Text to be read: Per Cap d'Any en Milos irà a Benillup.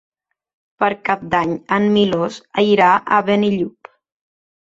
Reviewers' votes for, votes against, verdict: 3, 1, accepted